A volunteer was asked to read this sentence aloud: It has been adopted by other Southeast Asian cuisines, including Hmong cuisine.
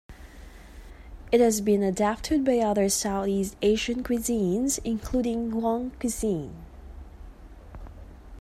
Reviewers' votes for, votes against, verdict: 0, 2, rejected